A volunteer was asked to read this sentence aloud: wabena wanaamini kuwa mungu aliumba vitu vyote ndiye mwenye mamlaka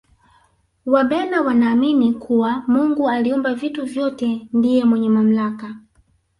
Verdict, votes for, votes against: rejected, 0, 2